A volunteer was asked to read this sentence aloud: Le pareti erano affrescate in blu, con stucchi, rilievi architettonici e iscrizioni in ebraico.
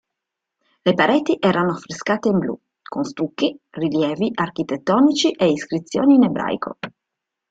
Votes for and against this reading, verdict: 2, 1, accepted